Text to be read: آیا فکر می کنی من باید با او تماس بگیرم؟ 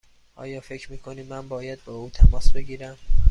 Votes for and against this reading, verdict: 2, 0, accepted